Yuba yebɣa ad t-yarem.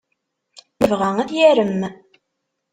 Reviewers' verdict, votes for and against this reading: rejected, 1, 2